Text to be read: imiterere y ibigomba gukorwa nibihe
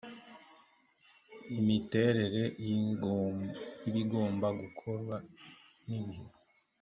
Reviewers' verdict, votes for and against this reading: rejected, 0, 2